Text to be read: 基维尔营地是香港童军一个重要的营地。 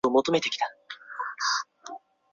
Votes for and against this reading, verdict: 0, 2, rejected